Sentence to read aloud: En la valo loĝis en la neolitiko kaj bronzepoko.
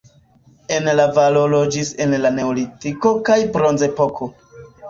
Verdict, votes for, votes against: rejected, 1, 2